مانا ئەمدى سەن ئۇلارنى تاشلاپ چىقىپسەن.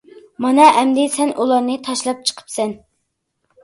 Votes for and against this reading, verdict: 2, 0, accepted